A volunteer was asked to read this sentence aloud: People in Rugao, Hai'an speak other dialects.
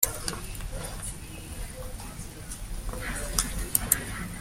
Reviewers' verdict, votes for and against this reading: rejected, 0, 2